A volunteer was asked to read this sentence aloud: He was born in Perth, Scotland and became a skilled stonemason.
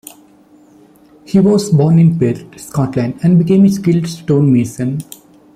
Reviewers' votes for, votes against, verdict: 2, 1, accepted